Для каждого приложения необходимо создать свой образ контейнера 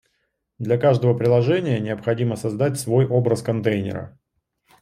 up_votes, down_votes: 2, 0